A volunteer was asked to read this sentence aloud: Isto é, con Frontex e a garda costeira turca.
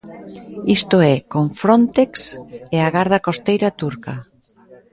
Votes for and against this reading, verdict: 1, 2, rejected